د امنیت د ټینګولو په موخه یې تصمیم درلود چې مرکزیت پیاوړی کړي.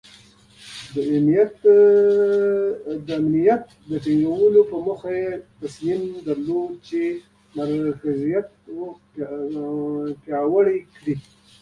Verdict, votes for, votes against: rejected, 0, 2